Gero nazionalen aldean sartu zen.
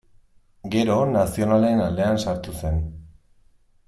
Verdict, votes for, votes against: accepted, 2, 0